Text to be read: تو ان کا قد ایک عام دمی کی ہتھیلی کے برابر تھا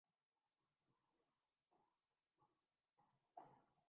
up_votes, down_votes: 0, 2